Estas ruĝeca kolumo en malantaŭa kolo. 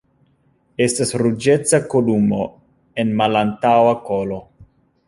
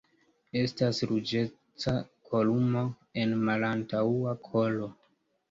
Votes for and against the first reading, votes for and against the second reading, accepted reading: 0, 2, 2, 0, second